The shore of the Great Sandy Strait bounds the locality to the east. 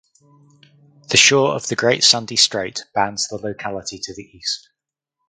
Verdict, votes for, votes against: accepted, 4, 0